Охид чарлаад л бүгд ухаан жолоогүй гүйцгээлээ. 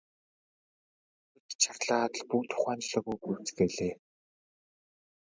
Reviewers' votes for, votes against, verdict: 2, 0, accepted